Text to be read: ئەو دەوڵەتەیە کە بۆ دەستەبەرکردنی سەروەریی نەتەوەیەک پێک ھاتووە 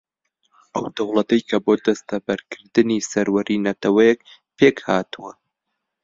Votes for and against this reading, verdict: 0, 2, rejected